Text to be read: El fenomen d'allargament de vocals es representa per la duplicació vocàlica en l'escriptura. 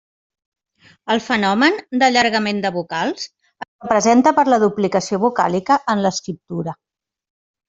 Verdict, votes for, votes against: rejected, 1, 2